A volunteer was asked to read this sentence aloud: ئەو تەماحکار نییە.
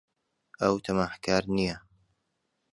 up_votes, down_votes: 2, 0